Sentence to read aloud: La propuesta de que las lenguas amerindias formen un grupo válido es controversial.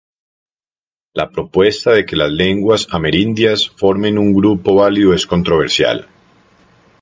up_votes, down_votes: 2, 0